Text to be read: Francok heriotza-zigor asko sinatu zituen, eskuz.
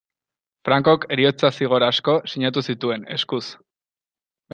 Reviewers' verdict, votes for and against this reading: accepted, 2, 0